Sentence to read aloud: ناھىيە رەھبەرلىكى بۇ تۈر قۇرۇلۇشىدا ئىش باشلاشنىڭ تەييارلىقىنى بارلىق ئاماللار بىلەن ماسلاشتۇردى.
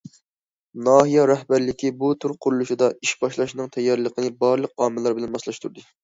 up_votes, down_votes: 2, 0